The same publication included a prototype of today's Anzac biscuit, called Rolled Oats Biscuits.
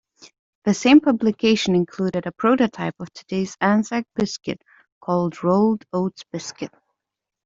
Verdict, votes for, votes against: rejected, 0, 2